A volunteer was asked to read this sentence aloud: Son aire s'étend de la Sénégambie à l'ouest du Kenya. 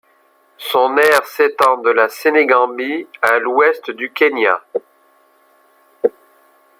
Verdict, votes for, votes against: accepted, 2, 1